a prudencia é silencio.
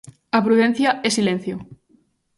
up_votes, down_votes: 2, 0